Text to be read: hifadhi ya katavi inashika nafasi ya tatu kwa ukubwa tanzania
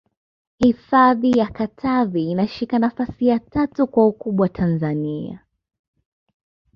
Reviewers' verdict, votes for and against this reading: accepted, 2, 0